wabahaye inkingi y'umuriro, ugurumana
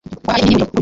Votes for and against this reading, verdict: 1, 2, rejected